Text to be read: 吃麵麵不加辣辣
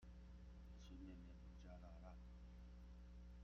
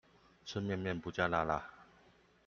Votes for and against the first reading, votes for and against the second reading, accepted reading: 0, 2, 2, 0, second